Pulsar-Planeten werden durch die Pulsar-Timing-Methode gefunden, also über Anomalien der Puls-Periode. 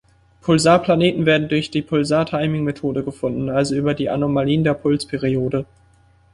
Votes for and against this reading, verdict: 1, 2, rejected